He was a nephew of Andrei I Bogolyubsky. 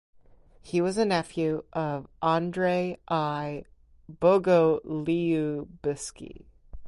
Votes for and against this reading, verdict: 0, 4, rejected